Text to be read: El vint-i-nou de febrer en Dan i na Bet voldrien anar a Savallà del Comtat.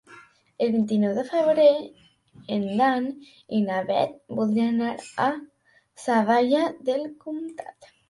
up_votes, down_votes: 0, 2